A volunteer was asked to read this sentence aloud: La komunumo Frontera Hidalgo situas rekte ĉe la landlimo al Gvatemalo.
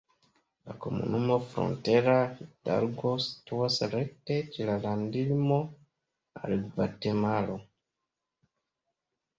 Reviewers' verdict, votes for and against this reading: rejected, 0, 2